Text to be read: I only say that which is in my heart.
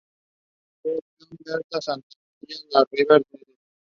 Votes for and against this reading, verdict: 0, 2, rejected